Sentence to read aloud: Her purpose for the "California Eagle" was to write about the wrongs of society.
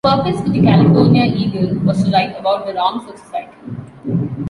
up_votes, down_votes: 1, 2